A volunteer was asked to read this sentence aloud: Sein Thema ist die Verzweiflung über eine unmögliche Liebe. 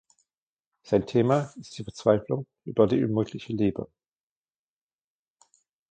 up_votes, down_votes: 0, 2